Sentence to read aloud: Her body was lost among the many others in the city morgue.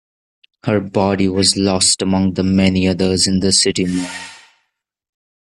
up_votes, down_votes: 0, 2